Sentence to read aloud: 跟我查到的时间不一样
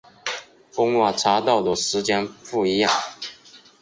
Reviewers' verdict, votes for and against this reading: accepted, 5, 0